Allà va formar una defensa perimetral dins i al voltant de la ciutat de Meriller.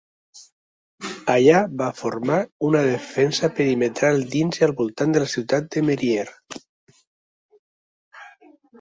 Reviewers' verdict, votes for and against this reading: rejected, 1, 2